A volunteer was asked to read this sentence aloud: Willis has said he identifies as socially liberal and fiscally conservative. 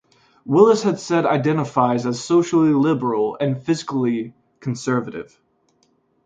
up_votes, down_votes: 1, 2